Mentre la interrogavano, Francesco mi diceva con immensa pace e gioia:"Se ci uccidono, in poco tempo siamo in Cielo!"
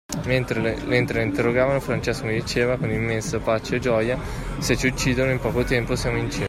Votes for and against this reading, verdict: 1, 2, rejected